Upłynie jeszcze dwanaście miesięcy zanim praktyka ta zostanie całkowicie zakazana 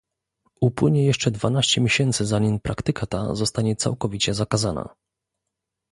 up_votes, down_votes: 2, 0